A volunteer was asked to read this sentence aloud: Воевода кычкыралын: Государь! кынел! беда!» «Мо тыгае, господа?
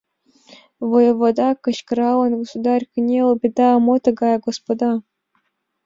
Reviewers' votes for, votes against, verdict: 2, 0, accepted